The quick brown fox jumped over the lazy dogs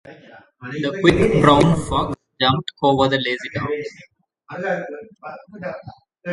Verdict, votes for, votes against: rejected, 0, 2